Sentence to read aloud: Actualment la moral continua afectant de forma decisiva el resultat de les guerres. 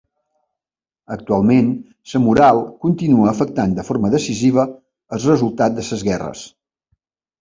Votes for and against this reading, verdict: 1, 2, rejected